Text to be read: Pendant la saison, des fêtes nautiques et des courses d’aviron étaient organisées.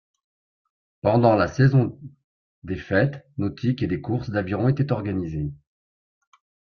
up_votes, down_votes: 0, 2